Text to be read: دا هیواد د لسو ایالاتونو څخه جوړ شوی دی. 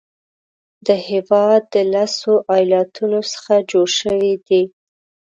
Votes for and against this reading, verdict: 1, 3, rejected